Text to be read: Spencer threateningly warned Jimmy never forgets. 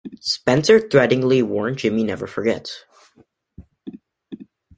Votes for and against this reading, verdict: 2, 0, accepted